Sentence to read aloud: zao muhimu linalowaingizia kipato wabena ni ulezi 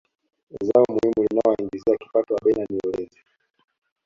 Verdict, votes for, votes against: accepted, 2, 0